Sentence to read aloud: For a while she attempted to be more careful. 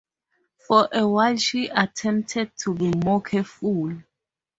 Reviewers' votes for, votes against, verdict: 2, 0, accepted